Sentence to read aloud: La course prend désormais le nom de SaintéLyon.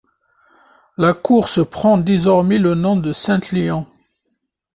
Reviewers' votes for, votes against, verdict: 0, 2, rejected